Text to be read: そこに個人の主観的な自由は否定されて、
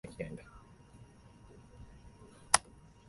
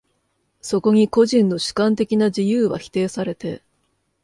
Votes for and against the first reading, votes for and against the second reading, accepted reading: 0, 2, 2, 0, second